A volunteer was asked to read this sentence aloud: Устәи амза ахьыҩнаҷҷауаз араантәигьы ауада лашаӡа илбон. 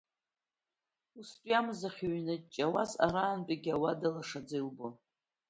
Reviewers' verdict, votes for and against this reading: rejected, 0, 2